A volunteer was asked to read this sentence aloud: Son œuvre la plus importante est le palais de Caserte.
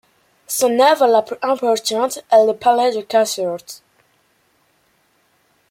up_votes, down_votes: 2, 0